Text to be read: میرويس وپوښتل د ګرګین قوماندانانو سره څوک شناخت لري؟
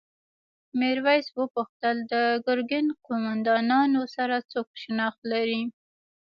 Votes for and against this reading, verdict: 1, 2, rejected